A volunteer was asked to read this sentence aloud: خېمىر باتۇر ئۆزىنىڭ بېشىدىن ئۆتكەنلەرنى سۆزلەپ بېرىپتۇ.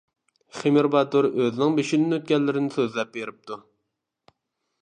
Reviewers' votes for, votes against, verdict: 0, 2, rejected